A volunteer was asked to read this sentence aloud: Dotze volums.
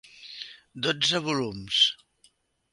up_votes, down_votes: 2, 0